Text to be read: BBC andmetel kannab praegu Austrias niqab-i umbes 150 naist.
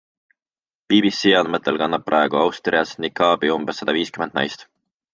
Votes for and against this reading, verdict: 0, 2, rejected